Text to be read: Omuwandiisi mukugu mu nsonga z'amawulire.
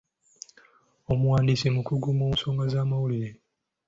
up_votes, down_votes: 2, 0